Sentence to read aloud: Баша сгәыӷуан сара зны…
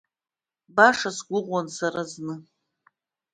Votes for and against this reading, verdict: 2, 0, accepted